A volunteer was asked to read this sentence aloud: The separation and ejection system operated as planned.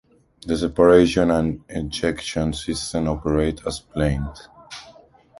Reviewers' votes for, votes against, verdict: 1, 2, rejected